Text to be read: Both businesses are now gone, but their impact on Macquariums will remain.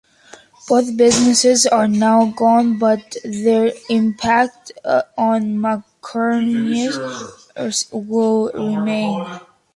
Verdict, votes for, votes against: accepted, 2, 0